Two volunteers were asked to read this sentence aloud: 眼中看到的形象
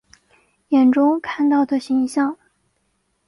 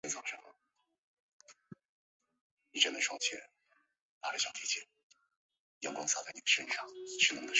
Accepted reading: first